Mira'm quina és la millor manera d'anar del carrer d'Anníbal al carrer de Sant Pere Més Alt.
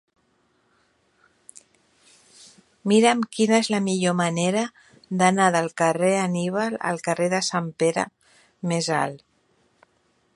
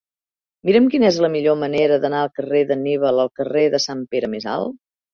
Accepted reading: second